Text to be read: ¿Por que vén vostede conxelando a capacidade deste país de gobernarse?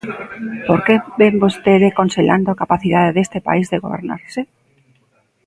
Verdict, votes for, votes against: accepted, 2, 0